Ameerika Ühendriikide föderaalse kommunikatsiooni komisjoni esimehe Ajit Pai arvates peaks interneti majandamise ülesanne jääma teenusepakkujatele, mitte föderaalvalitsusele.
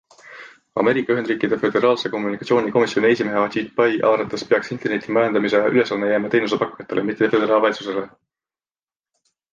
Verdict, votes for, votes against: accepted, 2, 0